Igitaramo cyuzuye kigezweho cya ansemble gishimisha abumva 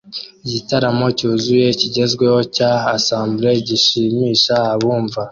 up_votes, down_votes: 2, 1